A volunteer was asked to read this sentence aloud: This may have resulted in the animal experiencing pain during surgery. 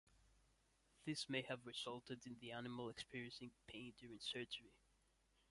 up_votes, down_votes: 0, 2